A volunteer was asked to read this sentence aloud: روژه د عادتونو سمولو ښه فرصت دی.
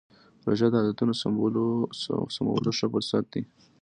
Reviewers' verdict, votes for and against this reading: accepted, 2, 0